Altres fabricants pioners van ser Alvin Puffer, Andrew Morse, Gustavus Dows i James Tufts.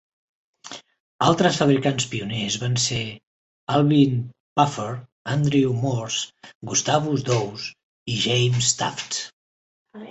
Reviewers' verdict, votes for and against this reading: rejected, 0, 2